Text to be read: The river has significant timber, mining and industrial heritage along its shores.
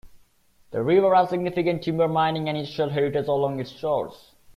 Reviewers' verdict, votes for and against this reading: rejected, 0, 2